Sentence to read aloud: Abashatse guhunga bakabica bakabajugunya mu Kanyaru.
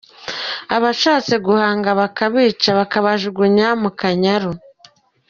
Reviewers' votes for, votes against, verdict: 0, 2, rejected